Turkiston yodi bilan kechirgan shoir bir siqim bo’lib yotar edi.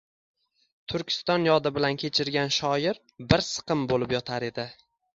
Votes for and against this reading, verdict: 2, 0, accepted